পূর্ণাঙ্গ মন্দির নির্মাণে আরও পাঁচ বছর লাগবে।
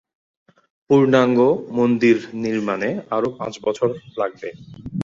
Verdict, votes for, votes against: accepted, 2, 0